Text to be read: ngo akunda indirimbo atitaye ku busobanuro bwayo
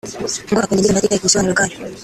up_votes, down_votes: 0, 2